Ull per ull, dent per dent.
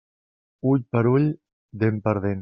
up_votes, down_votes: 3, 0